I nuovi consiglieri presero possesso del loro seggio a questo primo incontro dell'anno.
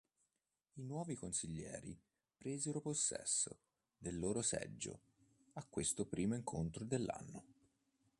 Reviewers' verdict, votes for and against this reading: accepted, 2, 0